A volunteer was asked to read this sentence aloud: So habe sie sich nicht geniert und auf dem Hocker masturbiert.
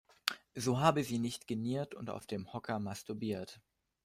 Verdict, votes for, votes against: rejected, 0, 2